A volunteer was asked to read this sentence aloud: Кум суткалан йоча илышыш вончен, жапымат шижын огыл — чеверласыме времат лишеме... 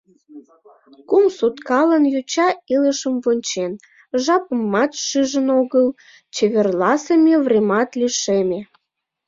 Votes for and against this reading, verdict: 0, 2, rejected